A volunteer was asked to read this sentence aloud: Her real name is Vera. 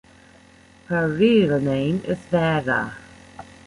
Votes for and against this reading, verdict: 0, 2, rejected